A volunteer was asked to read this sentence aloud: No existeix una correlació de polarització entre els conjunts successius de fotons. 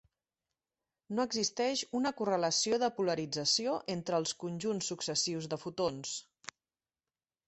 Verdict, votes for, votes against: accepted, 2, 0